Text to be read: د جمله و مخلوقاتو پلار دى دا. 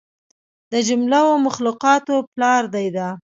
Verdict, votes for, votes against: accepted, 2, 0